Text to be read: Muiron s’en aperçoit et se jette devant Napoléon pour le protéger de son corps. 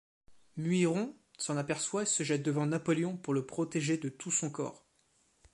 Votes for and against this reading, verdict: 1, 2, rejected